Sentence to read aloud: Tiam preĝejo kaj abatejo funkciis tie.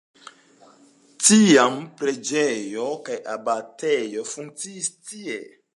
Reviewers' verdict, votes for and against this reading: accepted, 2, 0